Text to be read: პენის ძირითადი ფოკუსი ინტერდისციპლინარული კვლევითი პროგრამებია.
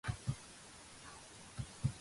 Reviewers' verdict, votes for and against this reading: rejected, 1, 2